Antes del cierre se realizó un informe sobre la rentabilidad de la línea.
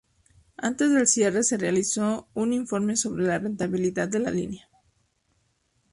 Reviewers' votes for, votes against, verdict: 2, 0, accepted